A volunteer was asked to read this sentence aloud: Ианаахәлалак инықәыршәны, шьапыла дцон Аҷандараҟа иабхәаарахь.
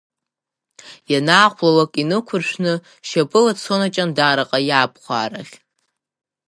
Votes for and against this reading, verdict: 4, 0, accepted